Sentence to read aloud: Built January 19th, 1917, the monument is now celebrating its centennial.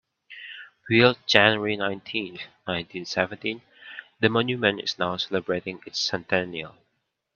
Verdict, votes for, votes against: rejected, 0, 2